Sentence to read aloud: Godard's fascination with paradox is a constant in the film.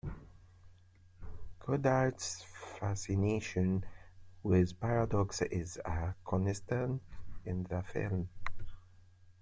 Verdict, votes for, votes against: rejected, 1, 2